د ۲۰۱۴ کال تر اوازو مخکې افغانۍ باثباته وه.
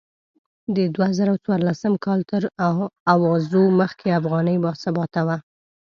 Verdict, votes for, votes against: rejected, 0, 2